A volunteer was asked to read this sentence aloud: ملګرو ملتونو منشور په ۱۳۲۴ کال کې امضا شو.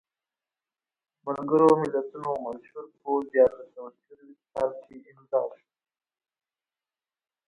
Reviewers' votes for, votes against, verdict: 0, 2, rejected